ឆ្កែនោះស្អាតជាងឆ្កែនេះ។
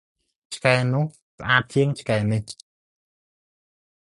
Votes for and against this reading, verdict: 2, 0, accepted